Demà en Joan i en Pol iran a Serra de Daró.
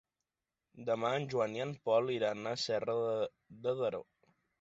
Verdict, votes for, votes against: rejected, 0, 2